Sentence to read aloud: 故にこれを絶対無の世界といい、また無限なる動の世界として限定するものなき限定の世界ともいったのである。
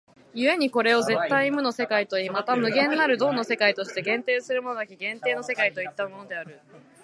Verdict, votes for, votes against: accepted, 2, 0